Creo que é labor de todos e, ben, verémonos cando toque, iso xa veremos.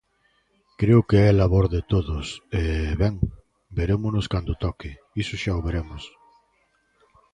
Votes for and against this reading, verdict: 1, 2, rejected